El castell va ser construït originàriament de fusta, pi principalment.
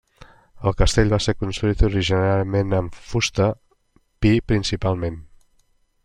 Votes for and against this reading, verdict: 0, 2, rejected